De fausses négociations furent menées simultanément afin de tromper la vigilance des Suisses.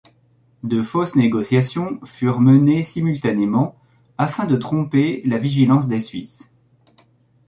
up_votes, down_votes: 2, 0